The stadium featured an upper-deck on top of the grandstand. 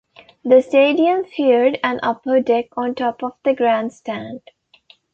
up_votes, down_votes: 1, 2